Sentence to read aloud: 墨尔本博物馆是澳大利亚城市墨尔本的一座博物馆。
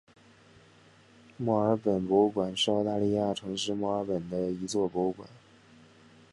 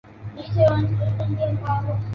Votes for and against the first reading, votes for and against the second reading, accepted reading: 5, 2, 0, 2, first